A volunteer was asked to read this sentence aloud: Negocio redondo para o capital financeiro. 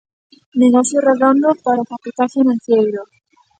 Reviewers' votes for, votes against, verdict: 0, 2, rejected